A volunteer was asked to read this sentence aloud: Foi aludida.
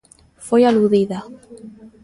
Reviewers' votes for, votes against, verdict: 2, 0, accepted